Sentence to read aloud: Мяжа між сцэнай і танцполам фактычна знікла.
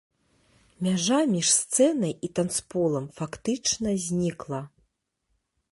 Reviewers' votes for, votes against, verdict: 2, 0, accepted